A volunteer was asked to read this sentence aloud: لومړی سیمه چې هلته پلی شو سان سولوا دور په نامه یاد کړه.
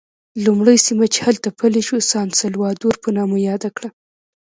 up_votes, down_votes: 0, 2